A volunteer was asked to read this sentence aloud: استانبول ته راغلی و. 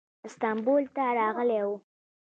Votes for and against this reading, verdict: 0, 2, rejected